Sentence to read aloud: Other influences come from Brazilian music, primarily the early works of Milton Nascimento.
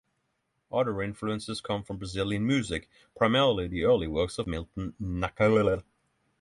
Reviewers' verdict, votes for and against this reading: rejected, 0, 6